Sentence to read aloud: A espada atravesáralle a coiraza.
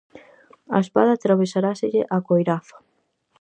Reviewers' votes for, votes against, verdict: 0, 4, rejected